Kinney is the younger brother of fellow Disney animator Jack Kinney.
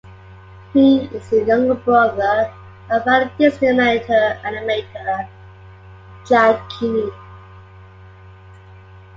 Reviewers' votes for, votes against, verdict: 2, 1, accepted